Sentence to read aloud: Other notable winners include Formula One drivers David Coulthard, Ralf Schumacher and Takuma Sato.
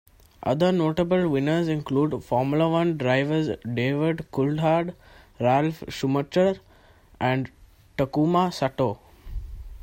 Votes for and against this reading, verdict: 2, 1, accepted